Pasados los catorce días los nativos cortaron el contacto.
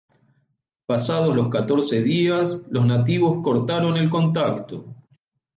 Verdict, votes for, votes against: accepted, 2, 0